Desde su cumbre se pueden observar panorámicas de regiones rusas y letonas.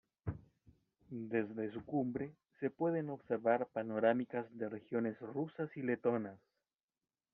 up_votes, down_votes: 1, 2